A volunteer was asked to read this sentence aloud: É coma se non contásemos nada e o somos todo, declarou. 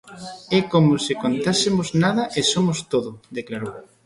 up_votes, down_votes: 0, 2